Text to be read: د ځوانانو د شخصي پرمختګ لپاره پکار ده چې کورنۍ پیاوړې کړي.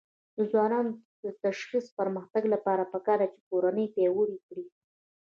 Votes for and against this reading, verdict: 0, 2, rejected